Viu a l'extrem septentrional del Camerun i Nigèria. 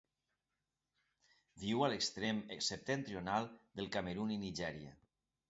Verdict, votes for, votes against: rejected, 1, 2